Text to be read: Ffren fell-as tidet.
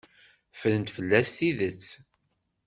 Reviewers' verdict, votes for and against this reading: accepted, 2, 0